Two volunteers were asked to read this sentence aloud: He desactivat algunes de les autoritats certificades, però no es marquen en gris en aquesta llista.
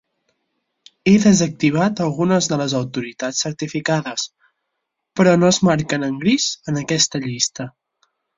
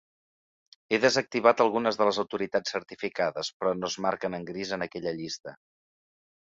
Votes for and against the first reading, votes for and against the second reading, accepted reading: 6, 0, 1, 2, first